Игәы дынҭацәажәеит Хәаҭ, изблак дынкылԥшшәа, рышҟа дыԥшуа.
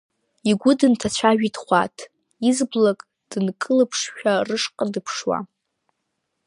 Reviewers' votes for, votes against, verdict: 2, 0, accepted